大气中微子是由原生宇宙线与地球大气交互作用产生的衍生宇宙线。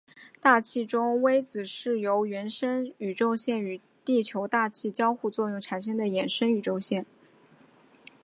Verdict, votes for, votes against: accepted, 3, 0